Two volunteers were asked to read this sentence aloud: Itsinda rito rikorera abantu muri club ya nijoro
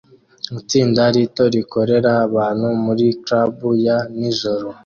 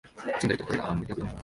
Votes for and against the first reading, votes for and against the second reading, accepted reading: 2, 0, 0, 2, first